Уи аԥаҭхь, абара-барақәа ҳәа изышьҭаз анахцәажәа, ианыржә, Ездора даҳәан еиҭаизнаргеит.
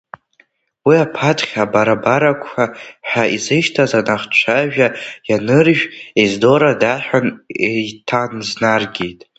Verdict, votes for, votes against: rejected, 1, 2